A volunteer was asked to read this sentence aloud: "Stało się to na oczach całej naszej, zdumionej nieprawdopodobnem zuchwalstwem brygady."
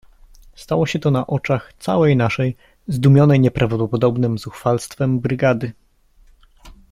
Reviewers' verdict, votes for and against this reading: accepted, 2, 0